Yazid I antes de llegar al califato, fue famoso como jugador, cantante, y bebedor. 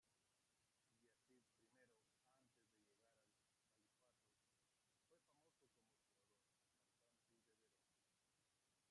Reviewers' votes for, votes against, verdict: 0, 2, rejected